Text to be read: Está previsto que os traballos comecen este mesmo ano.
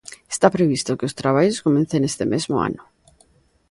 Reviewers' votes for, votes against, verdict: 2, 0, accepted